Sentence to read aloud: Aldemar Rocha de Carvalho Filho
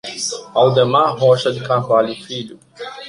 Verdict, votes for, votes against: rejected, 0, 2